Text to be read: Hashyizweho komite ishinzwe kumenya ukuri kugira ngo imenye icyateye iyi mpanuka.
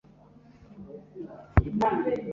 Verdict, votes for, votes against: rejected, 0, 2